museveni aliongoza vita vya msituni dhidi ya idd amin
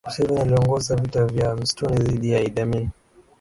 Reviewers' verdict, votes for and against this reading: rejected, 2, 2